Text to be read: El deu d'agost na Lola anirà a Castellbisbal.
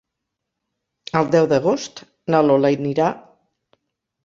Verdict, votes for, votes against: rejected, 0, 4